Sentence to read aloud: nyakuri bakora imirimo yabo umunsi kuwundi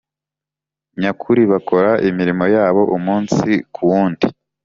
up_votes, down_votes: 3, 0